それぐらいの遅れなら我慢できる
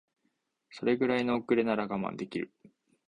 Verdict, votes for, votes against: accepted, 2, 0